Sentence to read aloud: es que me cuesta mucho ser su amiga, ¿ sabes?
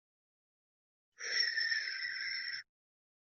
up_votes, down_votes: 0, 2